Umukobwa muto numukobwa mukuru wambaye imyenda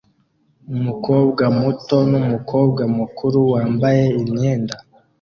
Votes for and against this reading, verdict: 2, 1, accepted